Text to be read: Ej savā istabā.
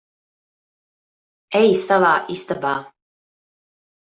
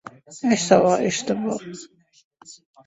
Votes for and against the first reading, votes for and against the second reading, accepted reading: 2, 0, 1, 2, first